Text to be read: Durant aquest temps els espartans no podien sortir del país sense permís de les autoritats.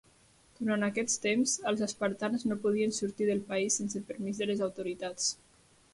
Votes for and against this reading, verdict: 0, 2, rejected